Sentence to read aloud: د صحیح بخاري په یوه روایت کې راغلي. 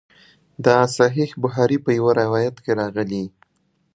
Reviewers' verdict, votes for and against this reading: accepted, 2, 0